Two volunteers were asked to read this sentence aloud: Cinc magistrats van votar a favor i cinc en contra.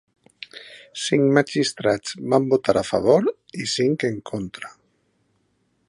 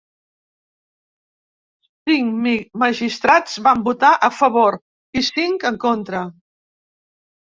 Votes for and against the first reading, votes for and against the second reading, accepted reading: 4, 0, 0, 2, first